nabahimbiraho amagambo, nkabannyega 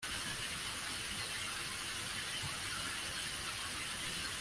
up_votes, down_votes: 0, 2